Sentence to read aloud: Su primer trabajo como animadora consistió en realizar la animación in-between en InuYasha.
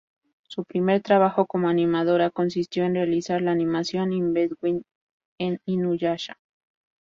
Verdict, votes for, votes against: rejected, 0, 2